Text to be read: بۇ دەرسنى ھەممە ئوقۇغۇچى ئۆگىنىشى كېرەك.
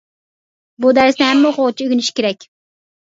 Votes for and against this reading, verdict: 1, 2, rejected